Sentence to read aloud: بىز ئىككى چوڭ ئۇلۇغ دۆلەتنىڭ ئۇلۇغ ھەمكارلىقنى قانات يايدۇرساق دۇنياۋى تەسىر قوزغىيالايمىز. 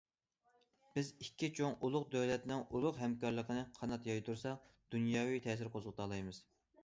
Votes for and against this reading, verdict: 0, 2, rejected